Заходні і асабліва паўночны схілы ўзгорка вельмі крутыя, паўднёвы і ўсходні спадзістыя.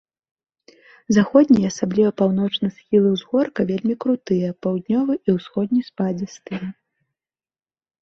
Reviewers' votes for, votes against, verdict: 3, 0, accepted